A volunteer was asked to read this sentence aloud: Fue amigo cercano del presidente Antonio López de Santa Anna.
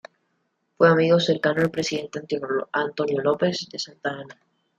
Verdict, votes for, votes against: rejected, 0, 2